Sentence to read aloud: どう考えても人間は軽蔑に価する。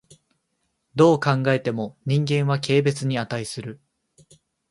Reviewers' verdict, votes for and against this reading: accepted, 2, 0